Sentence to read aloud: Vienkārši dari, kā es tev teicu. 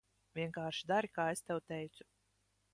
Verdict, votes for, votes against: rejected, 1, 2